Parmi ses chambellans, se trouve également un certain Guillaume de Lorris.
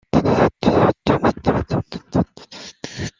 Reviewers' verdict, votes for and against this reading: rejected, 0, 2